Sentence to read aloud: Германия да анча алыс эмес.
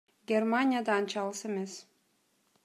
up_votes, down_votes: 2, 0